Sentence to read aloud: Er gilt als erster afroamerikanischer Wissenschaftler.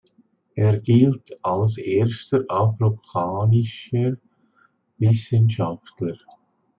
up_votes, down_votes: 0, 2